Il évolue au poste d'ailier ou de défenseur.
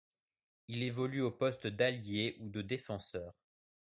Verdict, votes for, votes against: rejected, 0, 2